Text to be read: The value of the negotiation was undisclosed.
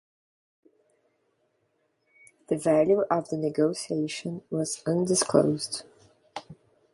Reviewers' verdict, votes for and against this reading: accepted, 2, 0